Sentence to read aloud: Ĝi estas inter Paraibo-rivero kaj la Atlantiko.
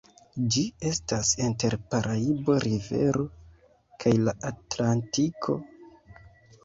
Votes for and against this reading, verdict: 0, 2, rejected